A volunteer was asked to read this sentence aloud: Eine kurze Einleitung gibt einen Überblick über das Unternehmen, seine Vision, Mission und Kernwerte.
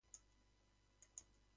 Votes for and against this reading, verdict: 0, 2, rejected